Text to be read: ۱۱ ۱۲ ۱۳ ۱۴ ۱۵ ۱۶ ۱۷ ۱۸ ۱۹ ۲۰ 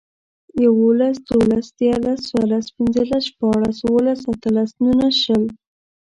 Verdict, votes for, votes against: rejected, 0, 2